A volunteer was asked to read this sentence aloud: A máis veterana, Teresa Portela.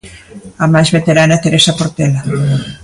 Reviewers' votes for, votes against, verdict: 2, 0, accepted